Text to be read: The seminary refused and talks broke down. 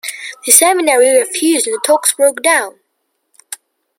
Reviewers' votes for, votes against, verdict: 2, 0, accepted